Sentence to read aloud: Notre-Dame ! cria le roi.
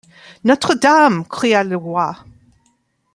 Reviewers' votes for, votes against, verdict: 2, 0, accepted